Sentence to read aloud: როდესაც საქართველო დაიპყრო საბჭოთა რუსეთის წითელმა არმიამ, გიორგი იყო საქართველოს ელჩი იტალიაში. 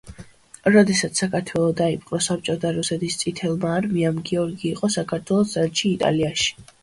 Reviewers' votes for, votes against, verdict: 2, 0, accepted